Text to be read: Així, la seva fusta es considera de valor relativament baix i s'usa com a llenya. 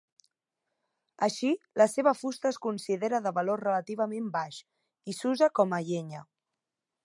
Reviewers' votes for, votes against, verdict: 2, 0, accepted